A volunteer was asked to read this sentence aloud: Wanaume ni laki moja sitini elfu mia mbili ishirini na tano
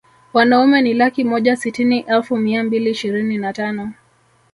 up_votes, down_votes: 1, 2